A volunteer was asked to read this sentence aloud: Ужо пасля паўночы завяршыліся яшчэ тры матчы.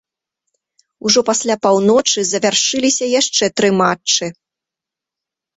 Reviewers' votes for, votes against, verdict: 2, 0, accepted